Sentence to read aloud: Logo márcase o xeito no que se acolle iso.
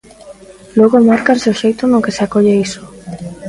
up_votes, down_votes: 0, 2